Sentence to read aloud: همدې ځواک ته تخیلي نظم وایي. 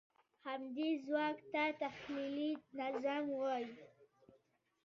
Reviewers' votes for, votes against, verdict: 2, 1, accepted